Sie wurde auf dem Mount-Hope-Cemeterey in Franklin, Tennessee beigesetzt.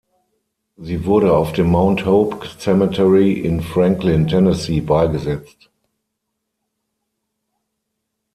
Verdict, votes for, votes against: rejected, 3, 6